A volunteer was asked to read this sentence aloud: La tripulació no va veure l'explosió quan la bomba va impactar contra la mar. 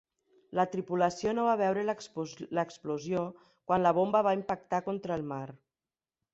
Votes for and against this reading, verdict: 1, 2, rejected